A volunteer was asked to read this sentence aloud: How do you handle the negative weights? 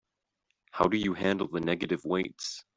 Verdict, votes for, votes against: accepted, 2, 0